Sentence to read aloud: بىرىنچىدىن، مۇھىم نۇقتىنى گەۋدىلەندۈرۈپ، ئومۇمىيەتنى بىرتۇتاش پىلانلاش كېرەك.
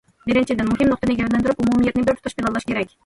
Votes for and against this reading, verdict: 2, 0, accepted